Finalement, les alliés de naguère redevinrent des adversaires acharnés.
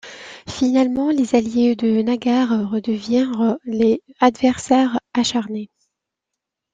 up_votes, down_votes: 1, 2